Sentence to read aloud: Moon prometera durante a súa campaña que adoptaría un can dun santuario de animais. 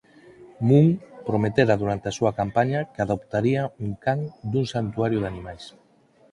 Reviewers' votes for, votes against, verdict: 2, 2, rejected